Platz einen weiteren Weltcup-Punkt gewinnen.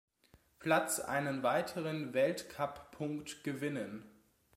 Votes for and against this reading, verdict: 3, 0, accepted